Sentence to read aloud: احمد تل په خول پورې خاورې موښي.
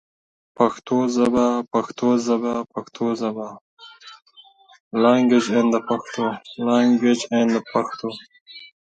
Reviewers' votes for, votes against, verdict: 2, 7, rejected